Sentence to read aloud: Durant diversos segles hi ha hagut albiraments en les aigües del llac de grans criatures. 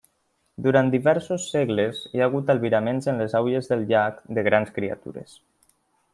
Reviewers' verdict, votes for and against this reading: rejected, 0, 2